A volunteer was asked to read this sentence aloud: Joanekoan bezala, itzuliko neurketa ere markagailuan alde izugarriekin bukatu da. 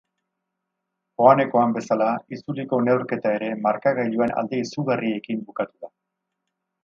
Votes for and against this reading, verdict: 8, 0, accepted